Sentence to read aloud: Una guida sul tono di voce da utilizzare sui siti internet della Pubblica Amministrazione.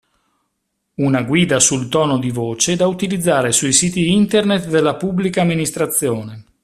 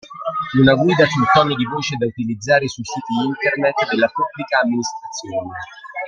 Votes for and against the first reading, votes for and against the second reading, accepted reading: 2, 0, 1, 2, first